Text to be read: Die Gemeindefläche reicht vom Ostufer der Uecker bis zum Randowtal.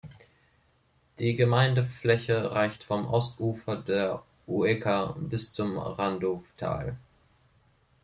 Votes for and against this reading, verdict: 0, 2, rejected